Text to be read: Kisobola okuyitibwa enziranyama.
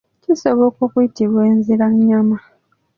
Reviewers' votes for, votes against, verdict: 3, 0, accepted